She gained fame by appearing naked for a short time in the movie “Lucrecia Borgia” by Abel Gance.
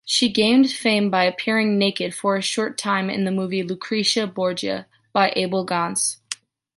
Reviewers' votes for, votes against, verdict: 2, 0, accepted